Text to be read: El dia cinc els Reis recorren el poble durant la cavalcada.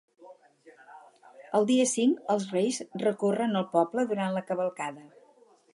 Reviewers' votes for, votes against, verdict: 4, 0, accepted